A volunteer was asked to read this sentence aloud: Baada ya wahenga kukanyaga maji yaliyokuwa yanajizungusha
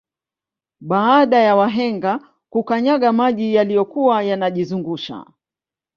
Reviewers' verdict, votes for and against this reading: accepted, 2, 0